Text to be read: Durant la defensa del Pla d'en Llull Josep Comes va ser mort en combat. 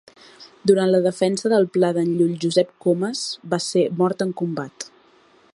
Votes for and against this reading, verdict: 2, 0, accepted